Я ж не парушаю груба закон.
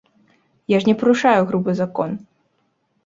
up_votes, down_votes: 1, 2